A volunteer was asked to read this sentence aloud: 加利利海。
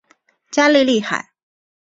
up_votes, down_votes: 3, 1